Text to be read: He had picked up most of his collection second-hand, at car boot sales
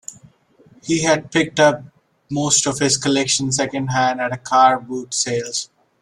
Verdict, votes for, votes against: rejected, 1, 2